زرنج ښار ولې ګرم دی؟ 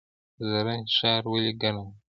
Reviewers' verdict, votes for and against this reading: accepted, 2, 0